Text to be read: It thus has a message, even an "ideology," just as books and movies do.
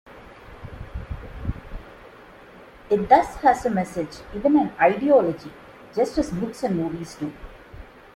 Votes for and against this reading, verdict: 2, 0, accepted